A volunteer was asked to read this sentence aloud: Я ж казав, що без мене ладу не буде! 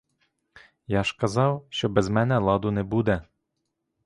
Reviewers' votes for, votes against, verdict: 2, 0, accepted